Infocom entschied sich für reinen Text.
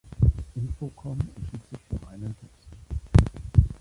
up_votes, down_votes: 1, 2